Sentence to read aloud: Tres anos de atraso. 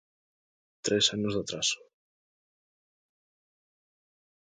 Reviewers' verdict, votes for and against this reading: accepted, 2, 0